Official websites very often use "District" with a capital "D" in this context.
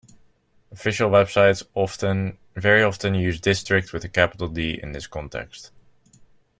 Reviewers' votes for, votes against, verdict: 0, 2, rejected